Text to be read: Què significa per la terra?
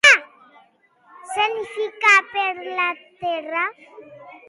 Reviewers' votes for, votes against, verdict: 0, 3, rejected